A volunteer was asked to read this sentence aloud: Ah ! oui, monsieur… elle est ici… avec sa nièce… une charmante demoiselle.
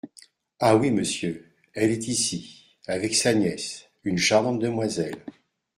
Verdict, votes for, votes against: accepted, 2, 0